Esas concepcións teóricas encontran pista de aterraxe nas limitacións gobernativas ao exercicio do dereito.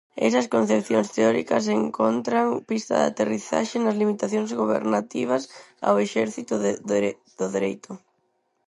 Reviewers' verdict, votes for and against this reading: rejected, 0, 4